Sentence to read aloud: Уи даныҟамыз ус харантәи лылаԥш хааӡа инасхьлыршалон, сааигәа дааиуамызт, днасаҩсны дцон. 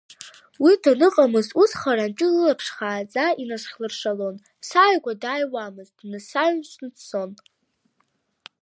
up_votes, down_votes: 0, 2